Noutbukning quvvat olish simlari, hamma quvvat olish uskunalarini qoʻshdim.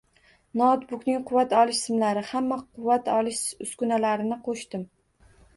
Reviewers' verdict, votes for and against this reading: rejected, 1, 2